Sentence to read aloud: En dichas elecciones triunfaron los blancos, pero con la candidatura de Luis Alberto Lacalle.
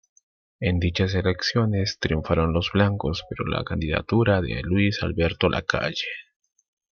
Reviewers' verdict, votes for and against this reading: rejected, 0, 2